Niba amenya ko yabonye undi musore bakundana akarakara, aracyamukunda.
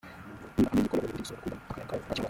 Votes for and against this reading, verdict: 0, 2, rejected